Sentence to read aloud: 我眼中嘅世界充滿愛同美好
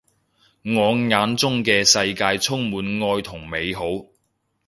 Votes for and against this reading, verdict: 2, 0, accepted